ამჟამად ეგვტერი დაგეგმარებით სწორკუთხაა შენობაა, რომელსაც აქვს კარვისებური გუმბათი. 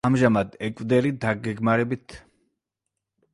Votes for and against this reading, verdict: 0, 2, rejected